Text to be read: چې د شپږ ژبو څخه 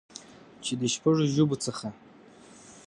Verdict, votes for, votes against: accepted, 2, 0